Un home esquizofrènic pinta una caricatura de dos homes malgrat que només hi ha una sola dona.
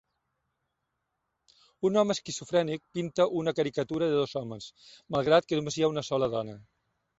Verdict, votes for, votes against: rejected, 1, 2